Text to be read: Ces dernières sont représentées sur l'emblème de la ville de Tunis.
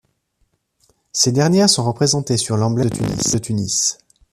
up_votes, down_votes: 1, 2